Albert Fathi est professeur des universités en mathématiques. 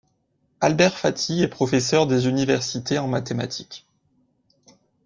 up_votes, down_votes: 2, 0